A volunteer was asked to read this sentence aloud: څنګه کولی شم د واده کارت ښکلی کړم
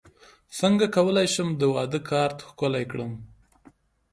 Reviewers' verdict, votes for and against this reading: rejected, 0, 2